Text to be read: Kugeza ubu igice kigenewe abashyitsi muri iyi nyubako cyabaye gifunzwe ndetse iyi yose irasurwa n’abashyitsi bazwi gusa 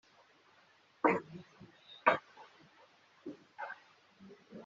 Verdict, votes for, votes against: rejected, 1, 2